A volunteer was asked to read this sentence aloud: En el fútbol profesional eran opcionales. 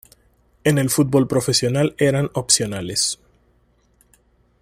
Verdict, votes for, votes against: rejected, 1, 2